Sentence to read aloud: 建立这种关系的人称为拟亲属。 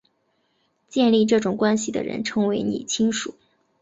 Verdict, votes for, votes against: accepted, 4, 0